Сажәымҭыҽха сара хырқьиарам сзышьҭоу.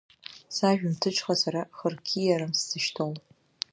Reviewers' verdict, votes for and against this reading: rejected, 0, 2